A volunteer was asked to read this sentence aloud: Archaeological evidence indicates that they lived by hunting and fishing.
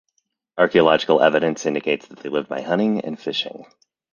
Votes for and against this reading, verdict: 2, 0, accepted